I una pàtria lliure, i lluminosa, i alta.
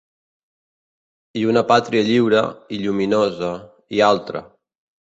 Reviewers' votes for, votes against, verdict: 1, 2, rejected